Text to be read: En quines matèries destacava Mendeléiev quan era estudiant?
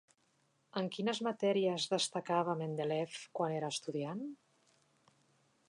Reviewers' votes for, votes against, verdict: 1, 4, rejected